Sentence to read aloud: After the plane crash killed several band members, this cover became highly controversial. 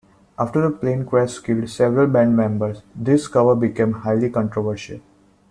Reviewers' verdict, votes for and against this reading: accepted, 2, 0